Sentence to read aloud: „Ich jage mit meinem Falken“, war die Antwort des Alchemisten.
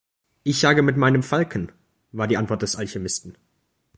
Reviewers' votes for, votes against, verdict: 2, 0, accepted